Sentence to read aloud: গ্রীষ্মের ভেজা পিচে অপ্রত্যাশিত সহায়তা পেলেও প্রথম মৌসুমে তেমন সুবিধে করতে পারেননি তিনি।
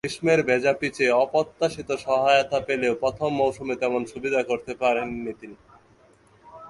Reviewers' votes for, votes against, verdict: 1, 2, rejected